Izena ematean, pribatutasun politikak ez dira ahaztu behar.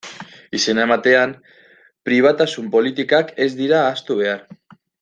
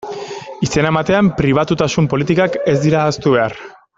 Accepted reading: second